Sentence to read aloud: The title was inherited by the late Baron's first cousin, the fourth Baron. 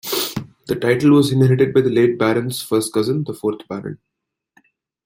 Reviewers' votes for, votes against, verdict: 1, 2, rejected